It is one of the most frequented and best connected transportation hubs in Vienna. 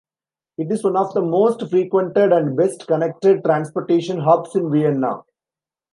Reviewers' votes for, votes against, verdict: 1, 2, rejected